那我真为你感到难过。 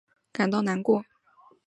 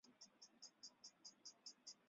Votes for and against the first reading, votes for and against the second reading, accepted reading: 2, 0, 0, 4, first